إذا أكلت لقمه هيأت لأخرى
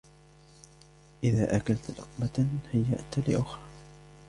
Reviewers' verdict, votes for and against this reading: accepted, 2, 1